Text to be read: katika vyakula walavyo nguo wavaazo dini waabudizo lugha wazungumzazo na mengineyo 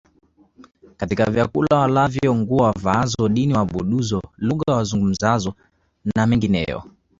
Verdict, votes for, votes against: accepted, 2, 0